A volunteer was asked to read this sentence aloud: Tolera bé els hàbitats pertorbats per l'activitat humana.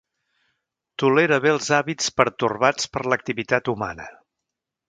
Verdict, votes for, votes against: rejected, 0, 2